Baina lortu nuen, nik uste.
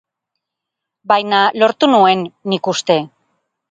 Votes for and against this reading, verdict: 2, 0, accepted